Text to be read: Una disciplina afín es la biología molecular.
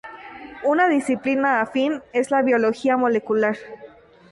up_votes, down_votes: 0, 2